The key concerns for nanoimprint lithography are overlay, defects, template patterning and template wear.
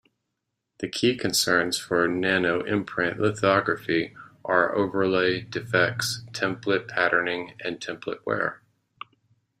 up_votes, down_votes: 2, 0